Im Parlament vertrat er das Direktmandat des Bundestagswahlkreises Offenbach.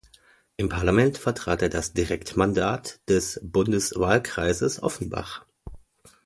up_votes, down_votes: 0, 2